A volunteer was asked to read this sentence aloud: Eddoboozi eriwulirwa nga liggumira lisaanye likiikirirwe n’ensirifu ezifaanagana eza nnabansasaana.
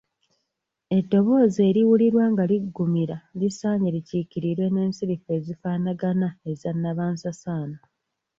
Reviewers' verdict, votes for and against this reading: accepted, 2, 1